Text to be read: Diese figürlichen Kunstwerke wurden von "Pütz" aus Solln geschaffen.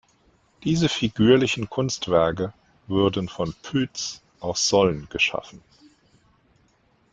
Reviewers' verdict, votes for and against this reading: rejected, 1, 2